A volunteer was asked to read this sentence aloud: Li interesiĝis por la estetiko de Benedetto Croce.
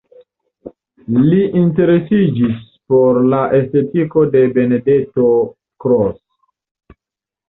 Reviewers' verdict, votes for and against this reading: rejected, 0, 2